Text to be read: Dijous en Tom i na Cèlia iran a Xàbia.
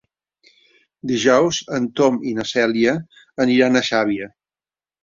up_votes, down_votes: 1, 4